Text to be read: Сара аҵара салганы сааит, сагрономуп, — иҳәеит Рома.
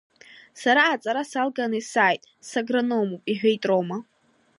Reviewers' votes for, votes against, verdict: 2, 1, accepted